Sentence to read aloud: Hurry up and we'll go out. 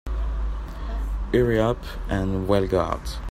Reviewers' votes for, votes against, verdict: 1, 2, rejected